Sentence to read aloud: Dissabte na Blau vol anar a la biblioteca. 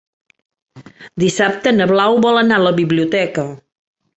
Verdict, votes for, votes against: accepted, 3, 0